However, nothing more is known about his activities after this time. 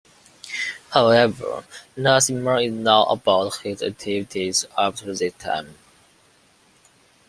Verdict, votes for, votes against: accepted, 2, 0